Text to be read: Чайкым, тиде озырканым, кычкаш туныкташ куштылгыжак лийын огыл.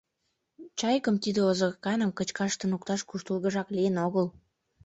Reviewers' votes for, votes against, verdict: 2, 0, accepted